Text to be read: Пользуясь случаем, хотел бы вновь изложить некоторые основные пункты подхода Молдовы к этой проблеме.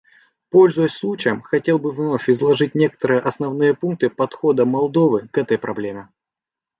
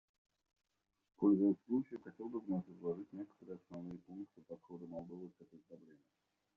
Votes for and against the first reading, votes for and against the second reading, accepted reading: 2, 0, 1, 2, first